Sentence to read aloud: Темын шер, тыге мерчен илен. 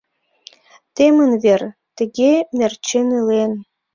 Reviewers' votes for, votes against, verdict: 0, 2, rejected